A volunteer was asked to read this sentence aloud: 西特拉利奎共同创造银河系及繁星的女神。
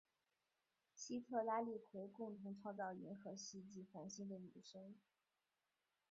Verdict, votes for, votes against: rejected, 2, 2